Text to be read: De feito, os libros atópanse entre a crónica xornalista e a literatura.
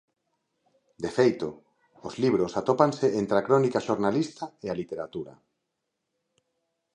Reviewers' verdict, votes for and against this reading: accepted, 2, 1